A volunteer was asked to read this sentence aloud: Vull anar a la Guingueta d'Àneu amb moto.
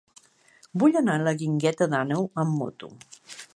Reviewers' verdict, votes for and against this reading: accepted, 3, 0